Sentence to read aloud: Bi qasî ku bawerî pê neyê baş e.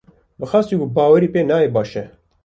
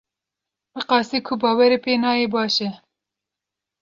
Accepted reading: second